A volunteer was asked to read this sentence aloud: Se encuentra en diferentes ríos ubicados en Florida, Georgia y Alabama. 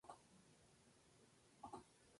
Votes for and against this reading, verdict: 0, 4, rejected